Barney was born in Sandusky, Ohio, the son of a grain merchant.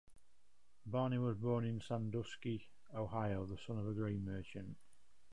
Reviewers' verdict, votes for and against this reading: accepted, 2, 0